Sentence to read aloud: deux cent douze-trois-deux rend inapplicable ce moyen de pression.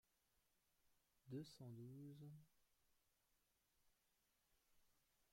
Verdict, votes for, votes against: rejected, 0, 2